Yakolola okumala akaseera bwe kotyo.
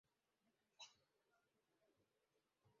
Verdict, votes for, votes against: rejected, 0, 3